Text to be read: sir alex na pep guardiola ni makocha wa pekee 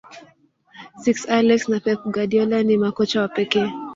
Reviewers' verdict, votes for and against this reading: rejected, 0, 2